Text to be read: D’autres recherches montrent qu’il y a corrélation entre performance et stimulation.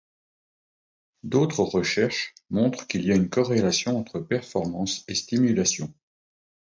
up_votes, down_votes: 2, 0